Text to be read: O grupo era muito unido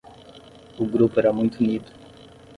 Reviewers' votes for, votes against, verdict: 5, 5, rejected